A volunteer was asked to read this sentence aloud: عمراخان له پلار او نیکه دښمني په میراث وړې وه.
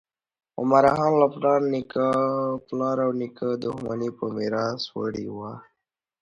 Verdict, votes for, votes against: rejected, 1, 2